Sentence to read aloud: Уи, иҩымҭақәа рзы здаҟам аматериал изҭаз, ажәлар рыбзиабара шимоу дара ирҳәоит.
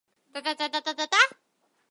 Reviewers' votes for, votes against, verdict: 1, 2, rejected